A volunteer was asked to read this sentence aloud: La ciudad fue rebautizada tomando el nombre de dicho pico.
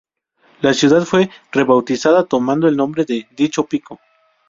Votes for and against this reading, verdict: 2, 0, accepted